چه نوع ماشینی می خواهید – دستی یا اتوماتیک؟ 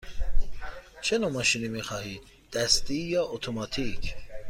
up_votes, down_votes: 2, 0